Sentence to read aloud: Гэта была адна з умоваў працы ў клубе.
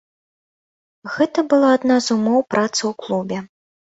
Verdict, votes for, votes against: rejected, 0, 2